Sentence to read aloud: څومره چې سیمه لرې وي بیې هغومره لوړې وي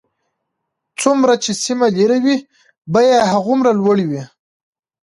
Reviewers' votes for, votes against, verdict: 1, 2, rejected